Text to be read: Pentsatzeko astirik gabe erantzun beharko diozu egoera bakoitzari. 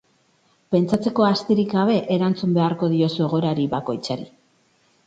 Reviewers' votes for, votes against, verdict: 0, 2, rejected